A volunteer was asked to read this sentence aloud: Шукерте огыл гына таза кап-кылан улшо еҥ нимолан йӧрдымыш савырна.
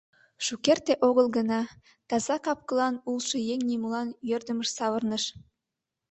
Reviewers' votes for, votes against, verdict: 1, 2, rejected